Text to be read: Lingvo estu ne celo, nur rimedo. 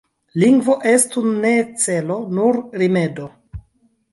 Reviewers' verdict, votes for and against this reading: accepted, 2, 0